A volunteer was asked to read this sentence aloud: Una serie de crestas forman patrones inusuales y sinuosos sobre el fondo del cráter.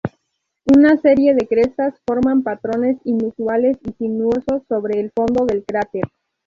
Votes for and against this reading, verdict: 2, 0, accepted